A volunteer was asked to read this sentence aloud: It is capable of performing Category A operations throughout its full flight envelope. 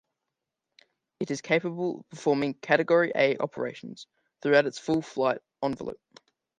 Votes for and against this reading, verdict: 2, 0, accepted